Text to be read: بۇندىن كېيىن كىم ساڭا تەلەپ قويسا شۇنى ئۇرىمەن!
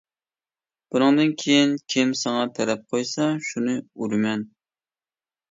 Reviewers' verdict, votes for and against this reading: rejected, 0, 2